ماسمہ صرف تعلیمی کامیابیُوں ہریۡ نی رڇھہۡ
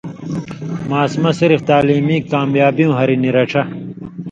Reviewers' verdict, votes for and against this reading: accepted, 2, 0